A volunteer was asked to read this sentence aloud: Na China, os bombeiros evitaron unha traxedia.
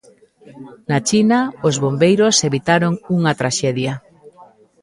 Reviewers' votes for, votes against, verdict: 1, 2, rejected